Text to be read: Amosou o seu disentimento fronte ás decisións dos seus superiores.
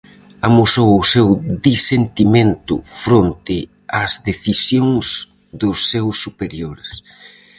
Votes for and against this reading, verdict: 4, 0, accepted